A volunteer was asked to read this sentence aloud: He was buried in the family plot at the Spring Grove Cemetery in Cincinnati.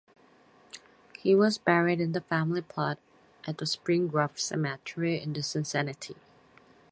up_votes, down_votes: 0, 4